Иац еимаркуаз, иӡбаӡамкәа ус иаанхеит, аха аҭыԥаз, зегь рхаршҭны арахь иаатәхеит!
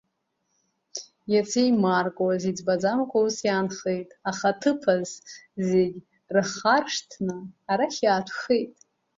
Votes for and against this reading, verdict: 2, 0, accepted